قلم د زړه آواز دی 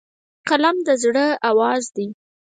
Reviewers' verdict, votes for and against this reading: rejected, 0, 4